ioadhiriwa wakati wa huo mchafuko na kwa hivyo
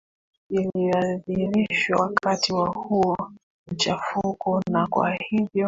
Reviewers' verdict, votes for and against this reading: rejected, 1, 2